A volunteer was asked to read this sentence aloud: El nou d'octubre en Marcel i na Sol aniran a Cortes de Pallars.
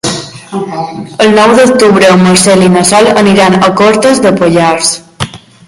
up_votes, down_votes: 1, 2